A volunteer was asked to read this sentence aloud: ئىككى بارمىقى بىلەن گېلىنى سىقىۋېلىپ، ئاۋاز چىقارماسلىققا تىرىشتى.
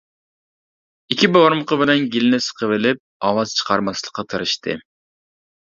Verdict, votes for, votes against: accepted, 2, 1